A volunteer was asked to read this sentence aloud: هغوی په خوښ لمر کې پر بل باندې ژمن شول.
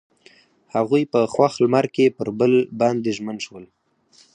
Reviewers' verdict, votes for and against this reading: rejected, 0, 4